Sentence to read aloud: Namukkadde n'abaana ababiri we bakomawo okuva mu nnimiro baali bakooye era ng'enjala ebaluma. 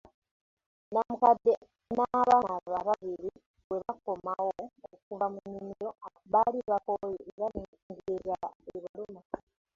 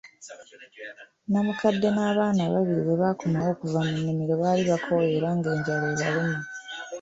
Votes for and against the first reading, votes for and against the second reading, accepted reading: 0, 2, 2, 0, second